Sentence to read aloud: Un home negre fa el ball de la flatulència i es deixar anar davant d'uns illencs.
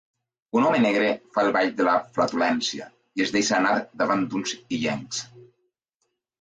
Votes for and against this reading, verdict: 2, 0, accepted